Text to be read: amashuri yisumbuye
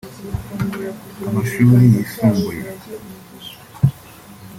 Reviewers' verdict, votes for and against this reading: accepted, 2, 0